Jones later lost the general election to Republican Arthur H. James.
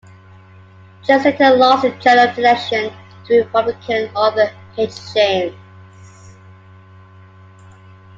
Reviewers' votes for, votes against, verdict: 0, 2, rejected